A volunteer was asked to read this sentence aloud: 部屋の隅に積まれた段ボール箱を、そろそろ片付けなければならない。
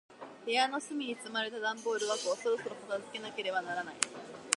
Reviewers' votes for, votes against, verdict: 2, 0, accepted